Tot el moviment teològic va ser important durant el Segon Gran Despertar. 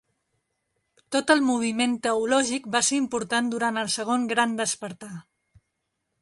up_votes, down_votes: 2, 0